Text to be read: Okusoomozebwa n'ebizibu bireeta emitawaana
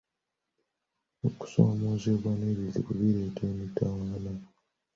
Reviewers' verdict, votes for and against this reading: rejected, 1, 2